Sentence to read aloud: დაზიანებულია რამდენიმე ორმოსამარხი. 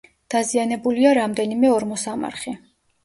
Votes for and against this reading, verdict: 2, 0, accepted